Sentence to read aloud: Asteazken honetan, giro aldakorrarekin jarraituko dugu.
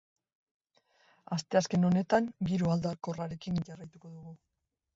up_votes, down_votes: 2, 0